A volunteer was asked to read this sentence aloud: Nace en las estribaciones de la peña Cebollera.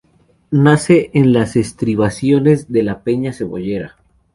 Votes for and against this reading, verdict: 2, 0, accepted